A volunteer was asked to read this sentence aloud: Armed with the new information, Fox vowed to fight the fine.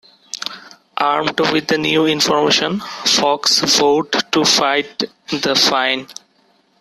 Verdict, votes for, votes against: accepted, 2, 1